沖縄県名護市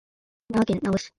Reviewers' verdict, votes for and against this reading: rejected, 0, 2